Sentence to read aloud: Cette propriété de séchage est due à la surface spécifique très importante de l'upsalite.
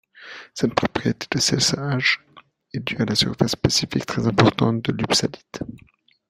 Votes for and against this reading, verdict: 0, 2, rejected